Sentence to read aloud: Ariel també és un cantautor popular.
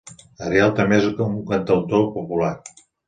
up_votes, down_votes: 0, 2